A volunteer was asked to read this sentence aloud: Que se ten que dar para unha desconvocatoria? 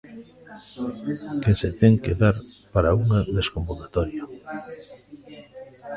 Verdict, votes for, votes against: rejected, 0, 2